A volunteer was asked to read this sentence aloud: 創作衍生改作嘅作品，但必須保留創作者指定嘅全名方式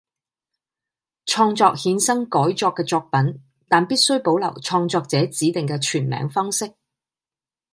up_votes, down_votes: 2, 0